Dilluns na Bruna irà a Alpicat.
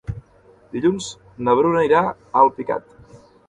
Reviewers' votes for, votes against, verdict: 3, 0, accepted